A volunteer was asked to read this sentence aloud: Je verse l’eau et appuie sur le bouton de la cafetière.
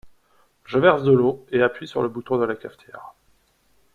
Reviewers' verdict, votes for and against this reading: accepted, 2, 1